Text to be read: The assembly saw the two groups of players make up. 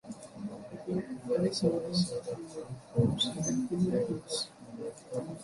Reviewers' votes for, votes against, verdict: 0, 2, rejected